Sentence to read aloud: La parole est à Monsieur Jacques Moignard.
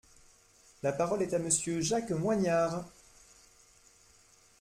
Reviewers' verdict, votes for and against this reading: accepted, 2, 1